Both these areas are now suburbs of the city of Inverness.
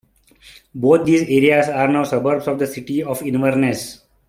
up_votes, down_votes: 1, 2